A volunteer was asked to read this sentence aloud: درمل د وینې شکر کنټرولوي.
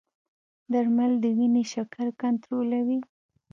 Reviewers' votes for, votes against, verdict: 1, 2, rejected